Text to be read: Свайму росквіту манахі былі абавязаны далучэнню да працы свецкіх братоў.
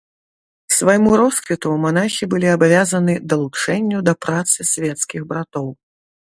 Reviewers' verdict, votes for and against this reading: accepted, 2, 0